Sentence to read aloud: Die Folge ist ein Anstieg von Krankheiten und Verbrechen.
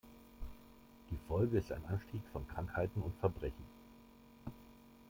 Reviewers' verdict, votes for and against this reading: rejected, 1, 2